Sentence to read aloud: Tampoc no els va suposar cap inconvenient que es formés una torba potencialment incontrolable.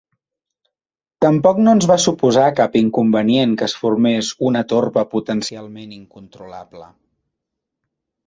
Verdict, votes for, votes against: rejected, 1, 2